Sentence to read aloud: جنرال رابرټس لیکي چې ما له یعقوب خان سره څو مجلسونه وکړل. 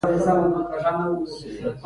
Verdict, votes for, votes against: accepted, 3, 2